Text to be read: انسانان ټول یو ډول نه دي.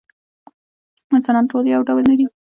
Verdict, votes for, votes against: accepted, 2, 0